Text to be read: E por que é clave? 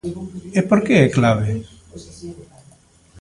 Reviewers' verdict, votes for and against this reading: accepted, 2, 1